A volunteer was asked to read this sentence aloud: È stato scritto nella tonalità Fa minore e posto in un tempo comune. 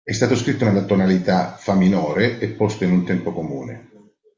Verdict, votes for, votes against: rejected, 1, 2